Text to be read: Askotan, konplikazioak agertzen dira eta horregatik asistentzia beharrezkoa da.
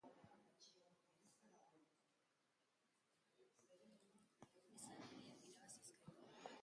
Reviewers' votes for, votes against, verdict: 0, 2, rejected